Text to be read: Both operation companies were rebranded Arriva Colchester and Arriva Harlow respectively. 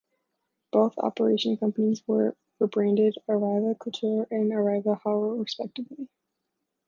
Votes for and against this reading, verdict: 0, 2, rejected